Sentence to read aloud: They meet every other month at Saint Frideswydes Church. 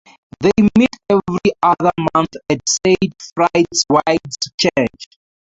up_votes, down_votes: 2, 2